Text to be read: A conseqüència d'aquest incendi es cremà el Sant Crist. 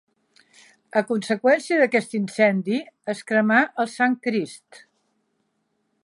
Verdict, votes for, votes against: accepted, 3, 1